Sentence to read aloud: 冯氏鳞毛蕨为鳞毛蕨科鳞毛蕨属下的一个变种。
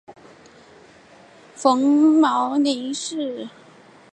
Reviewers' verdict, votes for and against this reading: rejected, 0, 3